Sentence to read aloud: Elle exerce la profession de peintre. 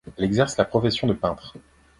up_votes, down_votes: 2, 0